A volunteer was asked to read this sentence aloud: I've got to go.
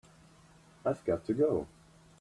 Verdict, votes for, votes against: accepted, 4, 0